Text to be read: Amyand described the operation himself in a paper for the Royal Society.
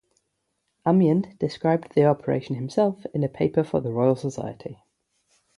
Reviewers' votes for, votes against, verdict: 3, 0, accepted